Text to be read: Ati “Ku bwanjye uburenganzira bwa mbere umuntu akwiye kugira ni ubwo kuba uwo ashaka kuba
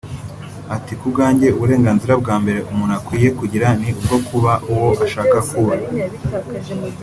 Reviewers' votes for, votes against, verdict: 2, 0, accepted